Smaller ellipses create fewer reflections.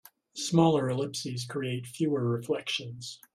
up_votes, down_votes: 2, 0